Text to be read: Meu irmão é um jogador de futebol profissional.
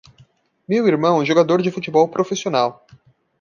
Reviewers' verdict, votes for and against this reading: rejected, 1, 2